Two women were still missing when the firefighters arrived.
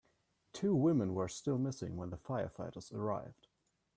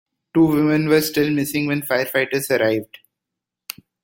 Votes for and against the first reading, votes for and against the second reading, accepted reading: 2, 1, 0, 2, first